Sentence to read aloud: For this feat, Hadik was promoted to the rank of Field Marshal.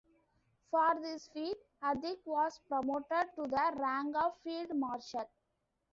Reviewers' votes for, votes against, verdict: 2, 0, accepted